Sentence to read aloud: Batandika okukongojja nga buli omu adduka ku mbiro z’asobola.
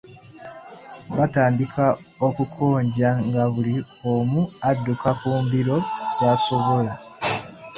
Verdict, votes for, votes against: rejected, 0, 2